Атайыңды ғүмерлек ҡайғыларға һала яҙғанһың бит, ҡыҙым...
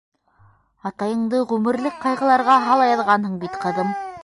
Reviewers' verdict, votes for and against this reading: rejected, 0, 2